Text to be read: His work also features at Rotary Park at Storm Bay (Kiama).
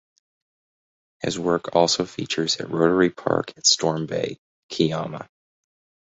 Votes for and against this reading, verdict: 2, 4, rejected